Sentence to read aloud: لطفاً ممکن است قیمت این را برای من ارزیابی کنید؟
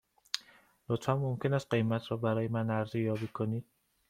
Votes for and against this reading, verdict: 1, 2, rejected